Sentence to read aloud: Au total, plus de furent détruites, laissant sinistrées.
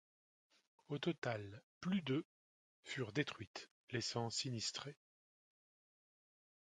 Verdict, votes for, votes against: rejected, 1, 2